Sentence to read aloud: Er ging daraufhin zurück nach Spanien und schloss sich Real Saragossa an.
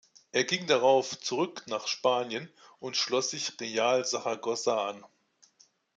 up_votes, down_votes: 1, 2